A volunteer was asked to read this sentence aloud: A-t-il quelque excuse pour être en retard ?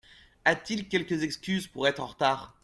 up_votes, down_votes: 2, 1